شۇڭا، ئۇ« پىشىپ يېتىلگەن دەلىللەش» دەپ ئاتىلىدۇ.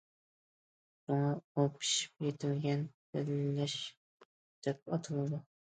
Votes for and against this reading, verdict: 0, 2, rejected